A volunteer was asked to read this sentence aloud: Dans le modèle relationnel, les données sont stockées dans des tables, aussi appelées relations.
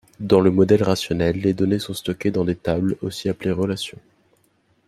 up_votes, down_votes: 0, 2